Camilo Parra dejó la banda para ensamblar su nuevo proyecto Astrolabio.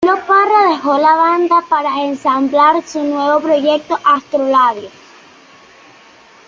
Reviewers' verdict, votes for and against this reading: accepted, 2, 1